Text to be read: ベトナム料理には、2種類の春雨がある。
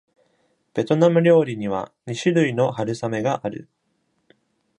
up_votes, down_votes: 0, 2